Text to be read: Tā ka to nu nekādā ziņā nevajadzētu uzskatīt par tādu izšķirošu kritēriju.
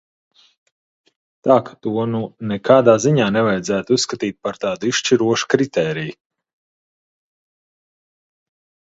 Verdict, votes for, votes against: accepted, 2, 0